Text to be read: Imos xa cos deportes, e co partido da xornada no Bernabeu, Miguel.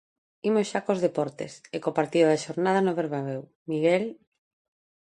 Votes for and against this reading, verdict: 1, 2, rejected